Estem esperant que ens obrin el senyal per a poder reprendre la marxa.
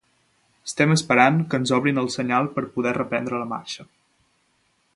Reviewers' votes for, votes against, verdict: 0, 2, rejected